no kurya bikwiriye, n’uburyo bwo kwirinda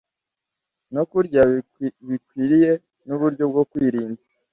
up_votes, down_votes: 1, 2